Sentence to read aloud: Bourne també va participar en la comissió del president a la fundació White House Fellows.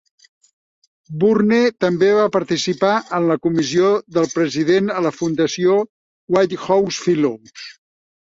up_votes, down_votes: 3, 0